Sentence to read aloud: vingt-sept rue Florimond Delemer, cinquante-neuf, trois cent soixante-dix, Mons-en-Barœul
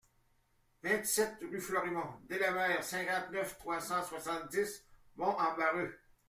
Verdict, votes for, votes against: rejected, 1, 2